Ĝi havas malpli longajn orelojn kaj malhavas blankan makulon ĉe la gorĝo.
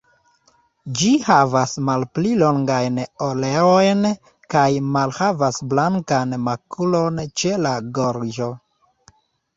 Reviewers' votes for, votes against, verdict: 0, 2, rejected